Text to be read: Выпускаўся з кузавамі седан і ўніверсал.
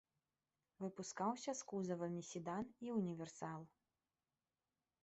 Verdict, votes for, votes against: rejected, 1, 2